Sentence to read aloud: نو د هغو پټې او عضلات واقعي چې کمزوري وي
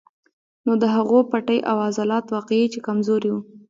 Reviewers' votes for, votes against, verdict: 2, 0, accepted